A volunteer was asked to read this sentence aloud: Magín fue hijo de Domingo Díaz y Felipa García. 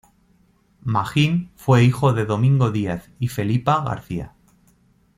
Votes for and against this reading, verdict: 2, 0, accepted